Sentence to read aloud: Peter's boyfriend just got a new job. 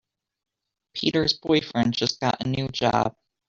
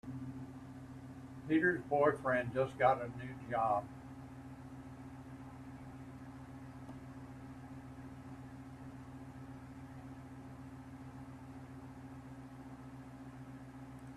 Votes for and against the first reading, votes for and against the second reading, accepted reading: 2, 0, 0, 2, first